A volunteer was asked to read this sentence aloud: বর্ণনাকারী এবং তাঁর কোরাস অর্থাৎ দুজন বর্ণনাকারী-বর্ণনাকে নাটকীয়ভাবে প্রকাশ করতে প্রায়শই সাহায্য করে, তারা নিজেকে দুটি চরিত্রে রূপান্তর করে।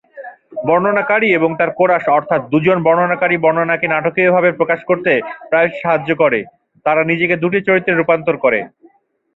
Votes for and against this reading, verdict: 4, 0, accepted